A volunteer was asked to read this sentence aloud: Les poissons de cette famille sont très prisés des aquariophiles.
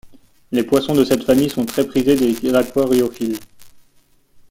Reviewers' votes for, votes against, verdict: 2, 1, accepted